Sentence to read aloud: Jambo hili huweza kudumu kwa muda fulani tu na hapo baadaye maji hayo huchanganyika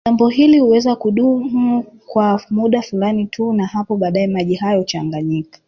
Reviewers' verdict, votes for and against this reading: rejected, 1, 2